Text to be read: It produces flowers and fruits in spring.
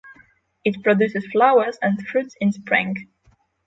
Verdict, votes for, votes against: accepted, 6, 0